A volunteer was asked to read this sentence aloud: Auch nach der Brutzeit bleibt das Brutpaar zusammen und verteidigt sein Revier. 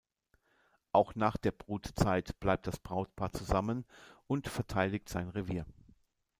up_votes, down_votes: 0, 2